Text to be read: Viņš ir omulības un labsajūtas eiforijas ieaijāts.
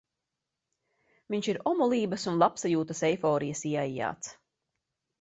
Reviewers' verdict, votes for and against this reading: accepted, 2, 0